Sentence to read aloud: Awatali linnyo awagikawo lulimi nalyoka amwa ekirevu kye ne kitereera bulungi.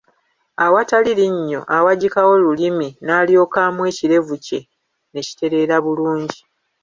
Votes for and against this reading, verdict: 2, 0, accepted